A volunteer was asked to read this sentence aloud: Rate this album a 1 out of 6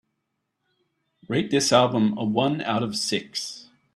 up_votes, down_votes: 0, 2